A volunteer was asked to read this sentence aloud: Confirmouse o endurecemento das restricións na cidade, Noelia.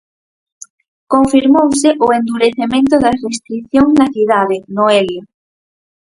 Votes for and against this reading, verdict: 2, 4, rejected